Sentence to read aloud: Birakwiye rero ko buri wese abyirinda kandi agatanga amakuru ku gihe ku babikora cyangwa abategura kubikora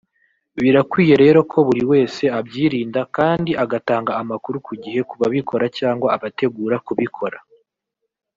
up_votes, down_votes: 1, 2